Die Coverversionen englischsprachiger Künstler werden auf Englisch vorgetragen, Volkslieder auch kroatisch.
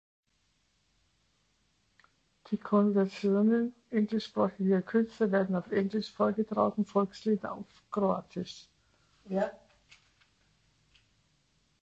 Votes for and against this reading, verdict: 0, 2, rejected